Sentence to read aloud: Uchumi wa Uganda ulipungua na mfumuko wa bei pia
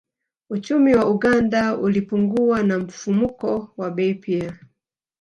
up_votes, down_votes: 2, 0